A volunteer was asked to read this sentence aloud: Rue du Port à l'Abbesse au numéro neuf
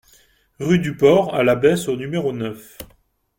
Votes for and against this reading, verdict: 2, 0, accepted